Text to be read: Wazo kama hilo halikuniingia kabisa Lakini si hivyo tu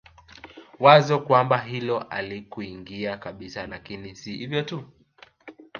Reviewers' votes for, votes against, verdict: 0, 3, rejected